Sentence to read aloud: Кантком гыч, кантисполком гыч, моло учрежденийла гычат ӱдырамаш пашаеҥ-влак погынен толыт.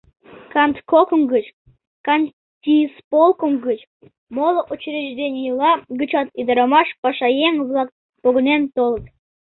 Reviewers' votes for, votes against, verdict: 0, 2, rejected